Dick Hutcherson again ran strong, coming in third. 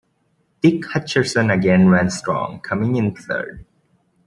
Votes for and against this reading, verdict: 2, 0, accepted